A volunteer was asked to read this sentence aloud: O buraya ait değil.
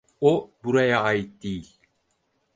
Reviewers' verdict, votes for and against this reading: accepted, 4, 0